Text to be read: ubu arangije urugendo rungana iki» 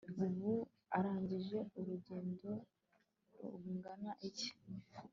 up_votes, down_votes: 2, 0